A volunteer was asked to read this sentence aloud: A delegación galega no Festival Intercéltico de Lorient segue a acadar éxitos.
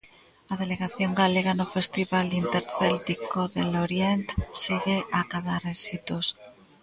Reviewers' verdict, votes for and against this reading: rejected, 0, 2